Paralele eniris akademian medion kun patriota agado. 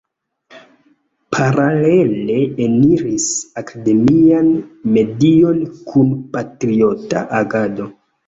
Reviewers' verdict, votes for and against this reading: accepted, 2, 1